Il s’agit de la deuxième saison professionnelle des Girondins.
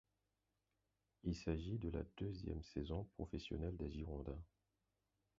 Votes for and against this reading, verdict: 4, 2, accepted